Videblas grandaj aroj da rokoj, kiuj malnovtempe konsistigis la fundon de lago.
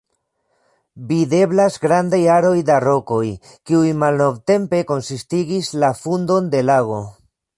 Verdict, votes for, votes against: accepted, 2, 1